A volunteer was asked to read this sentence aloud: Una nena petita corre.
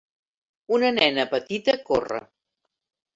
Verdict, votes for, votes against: accepted, 3, 0